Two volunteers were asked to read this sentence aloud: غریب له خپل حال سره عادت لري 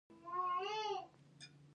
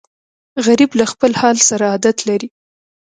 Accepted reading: second